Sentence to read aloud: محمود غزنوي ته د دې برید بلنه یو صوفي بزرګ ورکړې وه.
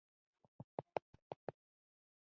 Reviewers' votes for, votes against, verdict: 0, 2, rejected